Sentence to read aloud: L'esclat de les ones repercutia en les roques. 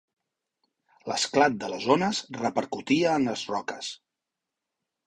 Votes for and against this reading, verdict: 2, 0, accepted